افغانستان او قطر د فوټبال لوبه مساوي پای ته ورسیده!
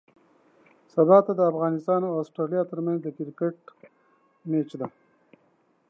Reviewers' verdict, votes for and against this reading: rejected, 1, 2